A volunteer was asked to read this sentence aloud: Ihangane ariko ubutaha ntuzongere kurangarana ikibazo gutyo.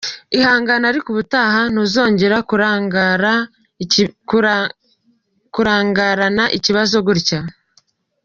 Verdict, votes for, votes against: rejected, 1, 2